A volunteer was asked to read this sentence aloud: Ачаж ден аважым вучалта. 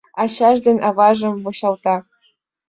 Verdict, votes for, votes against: accepted, 2, 0